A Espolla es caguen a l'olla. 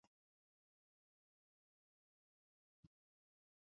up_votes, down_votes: 0, 2